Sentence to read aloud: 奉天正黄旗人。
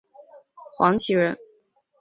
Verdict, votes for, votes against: rejected, 0, 3